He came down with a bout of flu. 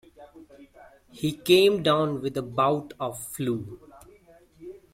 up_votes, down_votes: 0, 2